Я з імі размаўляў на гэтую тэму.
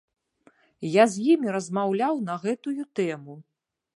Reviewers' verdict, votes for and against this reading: accepted, 2, 0